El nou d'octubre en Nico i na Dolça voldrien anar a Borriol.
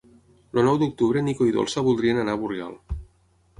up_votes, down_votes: 3, 6